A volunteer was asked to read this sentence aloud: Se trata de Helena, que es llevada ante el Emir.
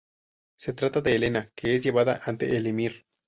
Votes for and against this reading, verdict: 4, 0, accepted